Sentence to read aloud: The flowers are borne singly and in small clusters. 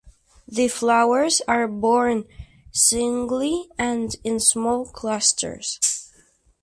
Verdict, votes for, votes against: accepted, 4, 0